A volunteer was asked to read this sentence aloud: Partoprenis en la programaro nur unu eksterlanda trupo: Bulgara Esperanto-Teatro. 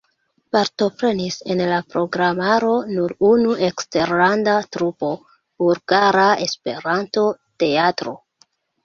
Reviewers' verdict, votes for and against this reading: rejected, 0, 2